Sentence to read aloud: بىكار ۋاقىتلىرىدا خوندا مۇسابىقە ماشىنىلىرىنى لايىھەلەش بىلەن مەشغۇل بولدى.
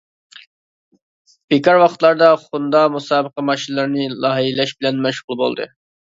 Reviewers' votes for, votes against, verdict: 1, 2, rejected